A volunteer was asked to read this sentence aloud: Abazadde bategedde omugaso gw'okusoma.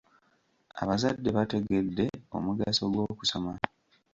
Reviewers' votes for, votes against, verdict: 2, 1, accepted